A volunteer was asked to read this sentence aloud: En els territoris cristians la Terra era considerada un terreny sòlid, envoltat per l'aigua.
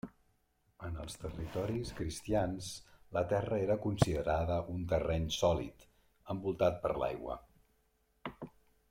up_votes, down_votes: 1, 2